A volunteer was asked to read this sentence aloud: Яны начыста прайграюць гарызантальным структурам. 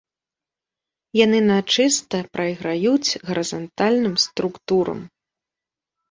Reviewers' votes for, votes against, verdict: 1, 2, rejected